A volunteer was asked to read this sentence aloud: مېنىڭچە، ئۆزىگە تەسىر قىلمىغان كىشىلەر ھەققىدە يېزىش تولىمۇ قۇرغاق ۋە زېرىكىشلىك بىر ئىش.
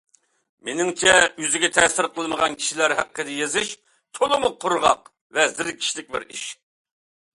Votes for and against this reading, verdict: 2, 0, accepted